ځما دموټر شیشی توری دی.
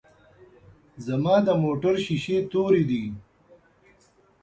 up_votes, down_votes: 2, 0